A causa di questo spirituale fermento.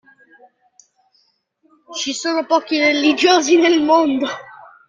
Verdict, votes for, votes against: rejected, 0, 2